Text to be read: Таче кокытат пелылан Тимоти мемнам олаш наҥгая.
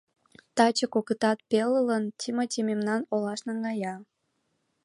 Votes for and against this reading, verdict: 2, 1, accepted